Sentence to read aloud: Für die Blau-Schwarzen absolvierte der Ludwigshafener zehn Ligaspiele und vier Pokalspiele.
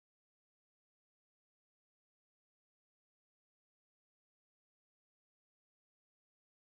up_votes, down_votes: 0, 2